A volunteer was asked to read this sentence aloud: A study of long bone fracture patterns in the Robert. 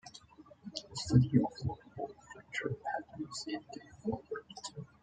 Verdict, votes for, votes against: rejected, 0, 2